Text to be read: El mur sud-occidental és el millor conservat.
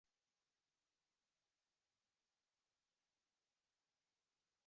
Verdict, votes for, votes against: rejected, 0, 2